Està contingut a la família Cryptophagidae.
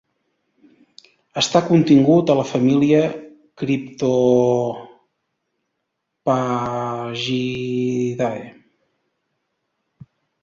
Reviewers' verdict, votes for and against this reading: rejected, 1, 2